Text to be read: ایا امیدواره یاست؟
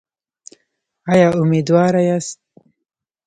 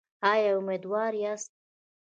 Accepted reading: second